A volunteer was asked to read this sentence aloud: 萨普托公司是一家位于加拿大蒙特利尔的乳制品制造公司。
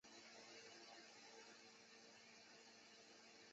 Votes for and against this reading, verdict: 0, 2, rejected